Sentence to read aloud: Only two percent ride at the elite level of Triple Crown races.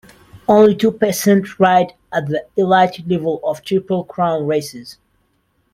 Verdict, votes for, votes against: rejected, 1, 2